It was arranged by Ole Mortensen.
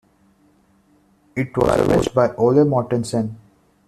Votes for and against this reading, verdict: 0, 2, rejected